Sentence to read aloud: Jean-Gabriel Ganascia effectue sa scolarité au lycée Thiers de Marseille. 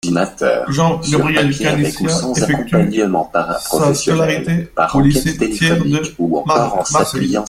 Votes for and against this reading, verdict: 0, 2, rejected